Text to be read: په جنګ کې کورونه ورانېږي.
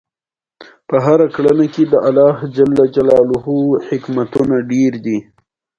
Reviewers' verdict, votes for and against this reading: accepted, 2, 0